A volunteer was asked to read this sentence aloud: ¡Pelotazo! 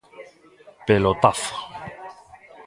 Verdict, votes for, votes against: rejected, 1, 2